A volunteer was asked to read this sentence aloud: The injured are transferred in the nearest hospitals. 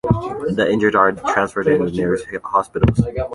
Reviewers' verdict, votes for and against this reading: rejected, 1, 2